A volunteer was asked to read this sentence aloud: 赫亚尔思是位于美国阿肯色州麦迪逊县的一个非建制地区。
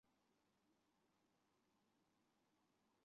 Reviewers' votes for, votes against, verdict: 0, 2, rejected